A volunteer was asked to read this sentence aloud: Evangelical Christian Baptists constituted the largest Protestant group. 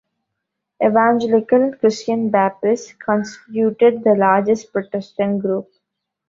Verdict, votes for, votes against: rejected, 1, 2